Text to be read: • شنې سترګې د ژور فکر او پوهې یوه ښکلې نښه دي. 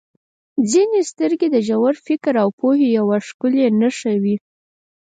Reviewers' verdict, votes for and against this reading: rejected, 2, 4